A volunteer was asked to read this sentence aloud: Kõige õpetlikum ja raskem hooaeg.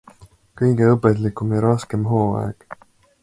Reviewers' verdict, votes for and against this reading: accepted, 2, 0